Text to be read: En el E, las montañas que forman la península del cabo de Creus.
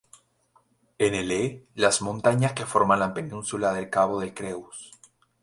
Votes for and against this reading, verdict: 2, 0, accepted